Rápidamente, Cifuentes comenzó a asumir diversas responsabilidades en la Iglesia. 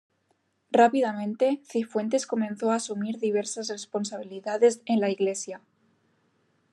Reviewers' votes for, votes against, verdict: 2, 0, accepted